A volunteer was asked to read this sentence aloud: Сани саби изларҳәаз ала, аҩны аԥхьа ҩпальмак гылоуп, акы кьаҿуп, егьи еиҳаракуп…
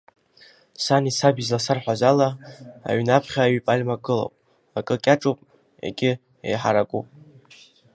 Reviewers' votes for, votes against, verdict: 1, 2, rejected